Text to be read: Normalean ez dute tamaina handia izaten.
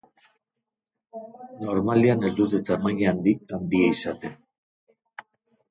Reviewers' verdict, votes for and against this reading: rejected, 0, 2